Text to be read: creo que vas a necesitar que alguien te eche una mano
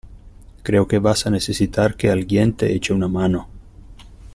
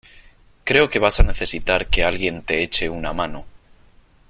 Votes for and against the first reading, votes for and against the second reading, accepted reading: 0, 2, 3, 0, second